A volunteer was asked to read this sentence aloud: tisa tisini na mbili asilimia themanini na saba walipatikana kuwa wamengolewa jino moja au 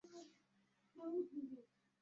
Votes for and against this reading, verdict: 0, 2, rejected